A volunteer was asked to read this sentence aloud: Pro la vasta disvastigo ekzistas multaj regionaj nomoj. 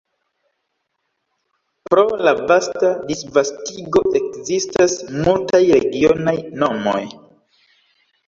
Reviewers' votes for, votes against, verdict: 1, 2, rejected